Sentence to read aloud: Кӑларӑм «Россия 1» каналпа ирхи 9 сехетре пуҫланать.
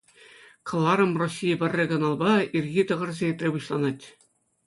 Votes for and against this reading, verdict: 0, 2, rejected